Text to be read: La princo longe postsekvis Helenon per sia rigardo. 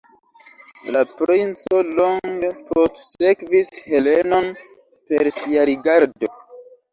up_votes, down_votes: 1, 2